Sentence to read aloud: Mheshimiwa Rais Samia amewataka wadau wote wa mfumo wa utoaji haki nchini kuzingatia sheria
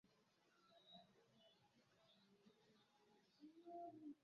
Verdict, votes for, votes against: rejected, 0, 2